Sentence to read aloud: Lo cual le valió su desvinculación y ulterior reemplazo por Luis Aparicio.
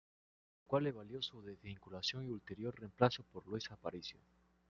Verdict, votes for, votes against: rejected, 0, 2